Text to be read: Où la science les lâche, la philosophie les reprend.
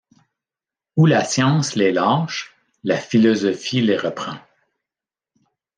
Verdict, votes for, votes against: accepted, 2, 1